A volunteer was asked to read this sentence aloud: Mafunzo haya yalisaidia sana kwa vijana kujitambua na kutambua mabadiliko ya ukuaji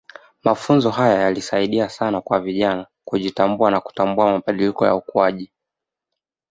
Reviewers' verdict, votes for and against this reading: accepted, 2, 0